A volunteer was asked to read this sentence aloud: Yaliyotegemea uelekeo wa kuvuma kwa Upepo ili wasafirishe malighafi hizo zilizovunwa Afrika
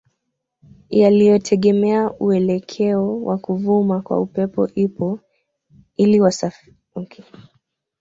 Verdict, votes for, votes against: rejected, 0, 2